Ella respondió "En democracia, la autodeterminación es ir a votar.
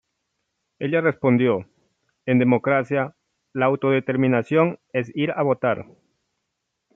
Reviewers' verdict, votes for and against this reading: accepted, 2, 0